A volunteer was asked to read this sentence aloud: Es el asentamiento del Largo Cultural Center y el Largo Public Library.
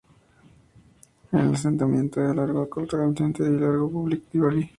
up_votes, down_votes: 0, 2